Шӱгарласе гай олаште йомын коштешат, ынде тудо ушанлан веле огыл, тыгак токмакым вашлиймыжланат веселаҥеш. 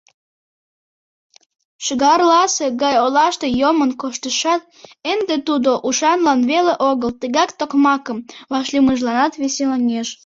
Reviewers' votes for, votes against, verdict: 0, 2, rejected